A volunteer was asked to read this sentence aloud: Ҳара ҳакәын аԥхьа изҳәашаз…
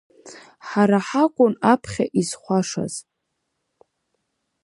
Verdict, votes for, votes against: rejected, 0, 4